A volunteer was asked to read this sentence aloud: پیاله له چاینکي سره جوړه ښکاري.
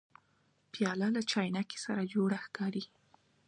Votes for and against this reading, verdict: 2, 0, accepted